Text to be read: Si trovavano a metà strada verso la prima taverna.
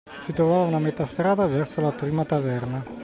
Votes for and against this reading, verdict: 2, 0, accepted